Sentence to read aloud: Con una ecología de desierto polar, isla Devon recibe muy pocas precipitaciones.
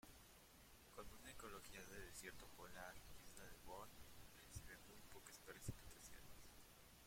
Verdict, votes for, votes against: rejected, 0, 2